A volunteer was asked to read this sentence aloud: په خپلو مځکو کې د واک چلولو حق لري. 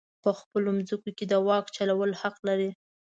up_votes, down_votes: 1, 2